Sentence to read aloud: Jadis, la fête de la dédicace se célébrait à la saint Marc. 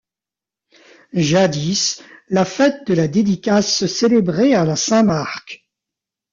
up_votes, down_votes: 2, 0